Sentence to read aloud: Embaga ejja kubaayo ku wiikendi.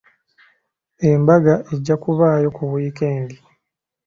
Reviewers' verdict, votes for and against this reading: accepted, 2, 0